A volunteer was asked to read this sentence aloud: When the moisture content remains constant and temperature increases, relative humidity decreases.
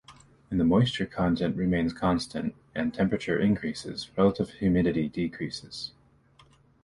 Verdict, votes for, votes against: accepted, 2, 1